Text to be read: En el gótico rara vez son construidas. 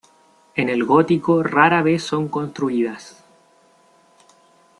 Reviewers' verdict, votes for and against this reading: rejected, 1, 2